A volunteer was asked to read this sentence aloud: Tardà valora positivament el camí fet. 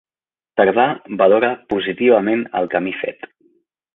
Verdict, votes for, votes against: accepted, 3, 0